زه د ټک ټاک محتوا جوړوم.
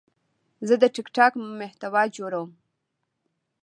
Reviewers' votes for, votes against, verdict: 2, 1, accepted